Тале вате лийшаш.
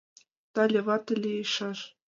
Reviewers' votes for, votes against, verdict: 1, 2, rejected